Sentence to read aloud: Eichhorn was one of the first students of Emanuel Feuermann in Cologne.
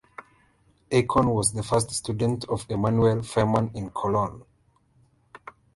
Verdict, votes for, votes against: rejected, 1, 2